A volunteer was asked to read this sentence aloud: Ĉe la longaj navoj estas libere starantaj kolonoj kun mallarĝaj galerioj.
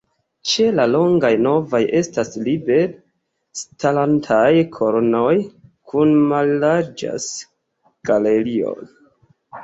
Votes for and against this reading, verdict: 1, 3, rejected